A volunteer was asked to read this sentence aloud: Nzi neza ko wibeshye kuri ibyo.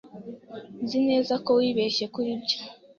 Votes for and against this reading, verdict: 2, 0, accepted